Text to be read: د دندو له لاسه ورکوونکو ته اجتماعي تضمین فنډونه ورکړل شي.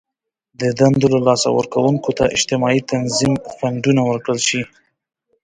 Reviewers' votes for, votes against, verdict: 0, 2, rejected